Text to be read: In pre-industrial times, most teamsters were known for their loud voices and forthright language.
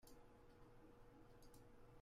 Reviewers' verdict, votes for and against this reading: rejected, 0, 2